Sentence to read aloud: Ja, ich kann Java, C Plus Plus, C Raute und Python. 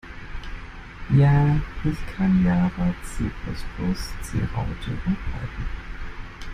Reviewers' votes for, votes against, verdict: 2, 1, accepted